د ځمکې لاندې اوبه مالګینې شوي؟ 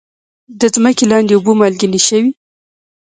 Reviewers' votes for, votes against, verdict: 1, 2, rejected